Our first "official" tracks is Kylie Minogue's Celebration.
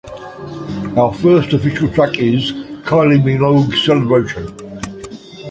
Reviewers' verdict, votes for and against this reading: rejected, 1, 2